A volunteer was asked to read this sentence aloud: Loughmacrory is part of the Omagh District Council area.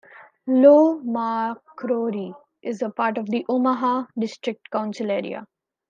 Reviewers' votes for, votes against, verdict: 0, 2, rejected